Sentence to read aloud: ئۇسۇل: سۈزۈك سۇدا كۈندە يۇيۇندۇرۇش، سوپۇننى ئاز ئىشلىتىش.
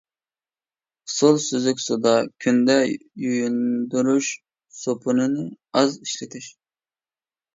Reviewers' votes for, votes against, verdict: 0, 2, rejected